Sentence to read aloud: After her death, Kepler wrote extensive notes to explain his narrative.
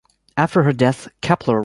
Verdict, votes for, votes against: rejected, 0, 3